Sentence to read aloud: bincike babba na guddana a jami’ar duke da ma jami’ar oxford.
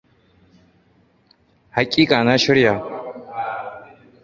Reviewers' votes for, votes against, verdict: 0, 2, rejected